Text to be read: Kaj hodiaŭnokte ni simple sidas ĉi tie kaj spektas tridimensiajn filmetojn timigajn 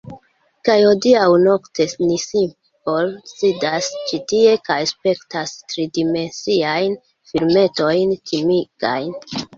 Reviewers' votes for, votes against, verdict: 0, 2, rejected